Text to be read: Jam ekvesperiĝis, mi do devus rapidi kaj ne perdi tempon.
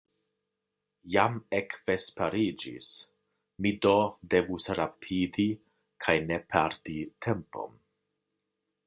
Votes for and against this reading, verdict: 2, 0, accepted